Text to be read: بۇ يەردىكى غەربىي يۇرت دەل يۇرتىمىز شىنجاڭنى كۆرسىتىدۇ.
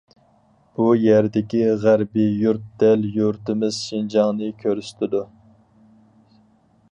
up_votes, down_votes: 4, 0